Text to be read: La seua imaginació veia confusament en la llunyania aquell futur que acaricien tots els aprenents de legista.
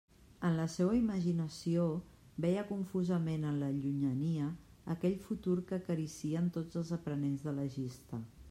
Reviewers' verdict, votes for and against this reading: rejected, 0, 2